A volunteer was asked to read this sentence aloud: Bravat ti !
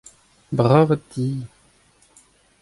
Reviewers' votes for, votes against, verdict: 2, 0, accepted